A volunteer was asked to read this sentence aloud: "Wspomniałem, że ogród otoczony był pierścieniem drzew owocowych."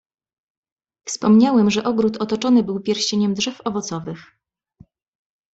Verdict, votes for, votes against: accepted, 2, 0